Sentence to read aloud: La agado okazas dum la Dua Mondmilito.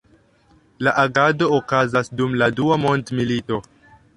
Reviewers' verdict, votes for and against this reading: accepted, 2, 0